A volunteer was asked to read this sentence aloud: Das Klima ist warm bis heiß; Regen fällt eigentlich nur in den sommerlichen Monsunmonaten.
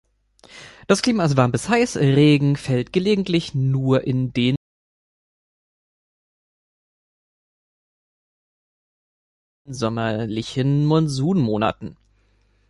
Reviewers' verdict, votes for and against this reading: rejected, 0, 2